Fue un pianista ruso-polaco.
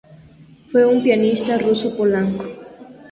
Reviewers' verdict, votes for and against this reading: rejected, 0, 2